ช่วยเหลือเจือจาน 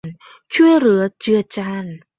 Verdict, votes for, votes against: rejected, 1, 2